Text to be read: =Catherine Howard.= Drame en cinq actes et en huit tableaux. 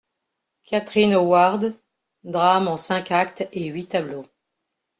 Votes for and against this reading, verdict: 1, 2, rejected